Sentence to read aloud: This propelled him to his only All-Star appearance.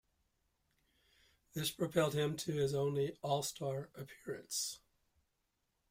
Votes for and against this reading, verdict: 2, 0, accepted